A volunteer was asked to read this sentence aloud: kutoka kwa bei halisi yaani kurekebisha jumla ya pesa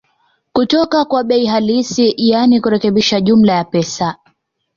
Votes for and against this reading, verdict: 2, 1, accepted